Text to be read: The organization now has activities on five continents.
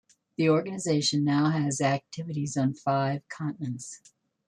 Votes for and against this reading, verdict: 2, 0, accepted